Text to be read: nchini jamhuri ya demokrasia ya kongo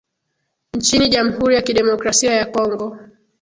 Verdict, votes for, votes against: accepted, 2, 0